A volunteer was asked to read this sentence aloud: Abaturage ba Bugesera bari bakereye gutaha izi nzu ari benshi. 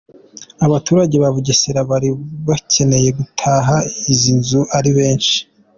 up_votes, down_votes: 2, 1